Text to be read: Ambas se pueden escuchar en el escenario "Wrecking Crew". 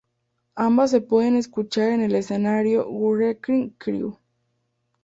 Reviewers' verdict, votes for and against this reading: accepted, 4, 0